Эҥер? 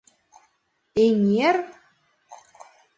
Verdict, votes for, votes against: accepted, 2, 0